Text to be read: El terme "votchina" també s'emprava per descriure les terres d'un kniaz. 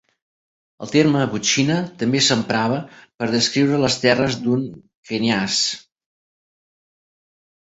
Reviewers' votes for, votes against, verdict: 2, 0, accepted